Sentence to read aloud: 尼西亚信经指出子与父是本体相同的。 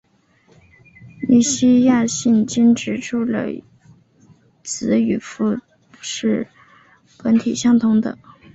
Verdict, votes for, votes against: rejected, 1, 2